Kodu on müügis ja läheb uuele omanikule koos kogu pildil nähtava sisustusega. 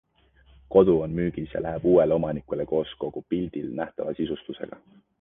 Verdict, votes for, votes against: accepted, 2, 0